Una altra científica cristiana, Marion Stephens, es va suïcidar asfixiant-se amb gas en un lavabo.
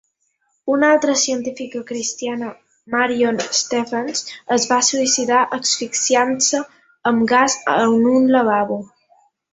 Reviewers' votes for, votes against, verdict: 3, 0, accepted